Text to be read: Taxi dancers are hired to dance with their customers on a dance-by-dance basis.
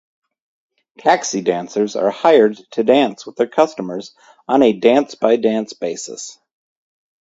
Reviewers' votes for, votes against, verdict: 4, 0, accepted